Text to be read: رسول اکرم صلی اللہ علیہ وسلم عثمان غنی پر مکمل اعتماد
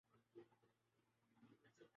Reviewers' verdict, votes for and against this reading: rejected, 0, 4